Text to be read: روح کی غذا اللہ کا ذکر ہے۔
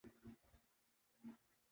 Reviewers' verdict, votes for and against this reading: rejected, 0, 2